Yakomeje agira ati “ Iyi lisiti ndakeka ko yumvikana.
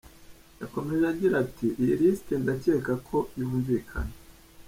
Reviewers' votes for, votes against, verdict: 1, 2, rejected